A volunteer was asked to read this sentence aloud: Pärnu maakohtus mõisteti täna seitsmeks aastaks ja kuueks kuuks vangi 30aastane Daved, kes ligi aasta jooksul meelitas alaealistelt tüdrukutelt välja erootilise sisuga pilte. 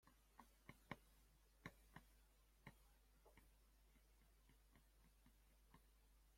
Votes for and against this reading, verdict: 0, 2, rejected